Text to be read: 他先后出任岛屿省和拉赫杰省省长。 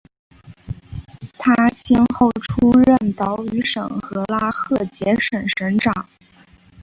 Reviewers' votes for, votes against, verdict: 4, 0, accepted